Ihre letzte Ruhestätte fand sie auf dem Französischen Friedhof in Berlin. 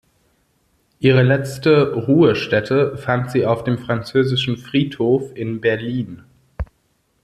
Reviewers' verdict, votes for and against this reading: accepted, 2, 0